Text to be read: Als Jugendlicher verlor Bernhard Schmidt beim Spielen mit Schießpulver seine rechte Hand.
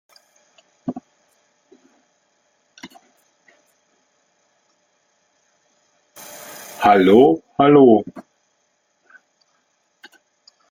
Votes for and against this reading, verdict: 0, 2, rejected